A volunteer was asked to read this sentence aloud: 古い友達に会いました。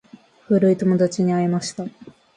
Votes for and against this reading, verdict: 2, 0, accepted